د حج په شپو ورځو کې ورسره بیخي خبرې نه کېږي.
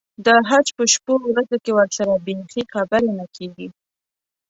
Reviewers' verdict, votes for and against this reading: accepted, 2, 0